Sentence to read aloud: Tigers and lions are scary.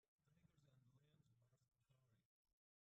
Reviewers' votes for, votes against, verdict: 0, 2, rejected